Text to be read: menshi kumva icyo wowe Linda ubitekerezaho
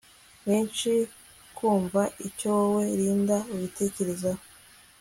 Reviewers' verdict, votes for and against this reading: accepted, 2, 0